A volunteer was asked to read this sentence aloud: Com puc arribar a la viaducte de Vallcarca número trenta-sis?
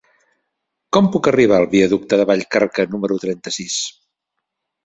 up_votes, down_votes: 1, 2